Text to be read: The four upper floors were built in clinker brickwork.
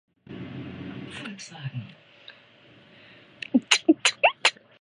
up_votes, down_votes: 0, 2